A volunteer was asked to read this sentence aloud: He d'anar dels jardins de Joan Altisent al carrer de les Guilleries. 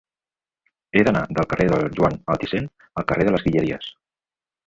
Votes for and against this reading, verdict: 0, 2, rejected